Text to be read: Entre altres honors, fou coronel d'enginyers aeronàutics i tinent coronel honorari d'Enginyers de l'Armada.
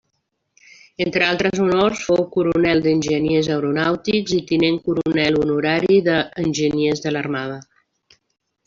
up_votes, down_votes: 1, 2